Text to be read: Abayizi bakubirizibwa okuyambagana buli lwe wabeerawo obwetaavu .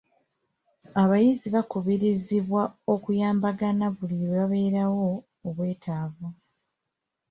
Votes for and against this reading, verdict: 2, 1, accepted